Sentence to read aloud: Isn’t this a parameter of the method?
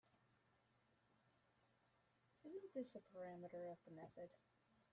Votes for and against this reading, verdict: 0, 2, rejected